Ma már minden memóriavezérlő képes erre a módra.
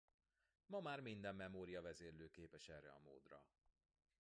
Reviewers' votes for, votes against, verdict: 1, 2, rejected